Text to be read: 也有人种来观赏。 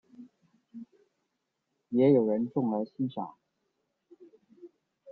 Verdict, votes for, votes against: rejected, 0, 2